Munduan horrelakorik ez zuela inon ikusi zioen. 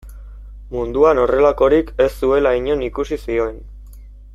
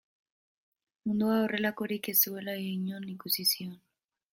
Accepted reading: first